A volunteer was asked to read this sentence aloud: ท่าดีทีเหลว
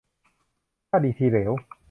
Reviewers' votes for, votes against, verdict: 2, 0, accepted